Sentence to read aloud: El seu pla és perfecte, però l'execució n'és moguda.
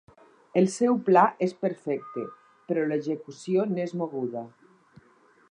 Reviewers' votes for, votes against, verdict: 6, 0, accepted